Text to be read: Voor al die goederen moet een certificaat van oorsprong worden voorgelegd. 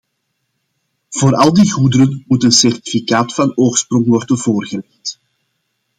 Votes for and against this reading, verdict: 2, 0, accepted